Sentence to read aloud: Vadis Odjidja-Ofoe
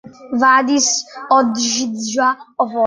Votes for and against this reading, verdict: 0, 2, rejected